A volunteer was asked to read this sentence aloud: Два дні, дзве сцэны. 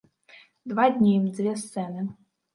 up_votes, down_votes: 2, 0